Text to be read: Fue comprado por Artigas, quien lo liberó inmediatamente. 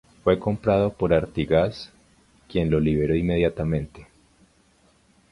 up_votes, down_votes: 2, 0